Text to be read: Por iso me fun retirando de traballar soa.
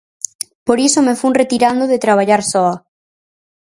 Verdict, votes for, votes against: accepted, 4, 0